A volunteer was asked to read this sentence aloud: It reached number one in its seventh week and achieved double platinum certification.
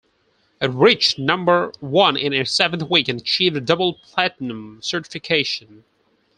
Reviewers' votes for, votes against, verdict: 4, 0, accepted